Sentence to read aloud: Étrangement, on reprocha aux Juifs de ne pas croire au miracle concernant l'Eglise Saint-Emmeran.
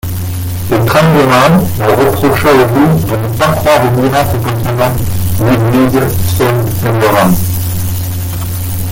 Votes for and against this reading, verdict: 0, 2, rejected